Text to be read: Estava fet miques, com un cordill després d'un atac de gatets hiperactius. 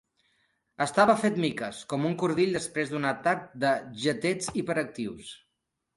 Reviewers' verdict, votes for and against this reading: rejected, 1, 3